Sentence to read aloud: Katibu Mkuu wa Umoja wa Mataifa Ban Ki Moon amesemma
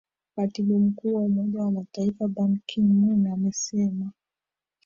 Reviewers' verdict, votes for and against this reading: rejected, 0, 2